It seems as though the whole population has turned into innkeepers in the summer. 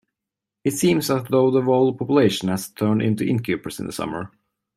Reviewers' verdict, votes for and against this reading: accepted, 2, 1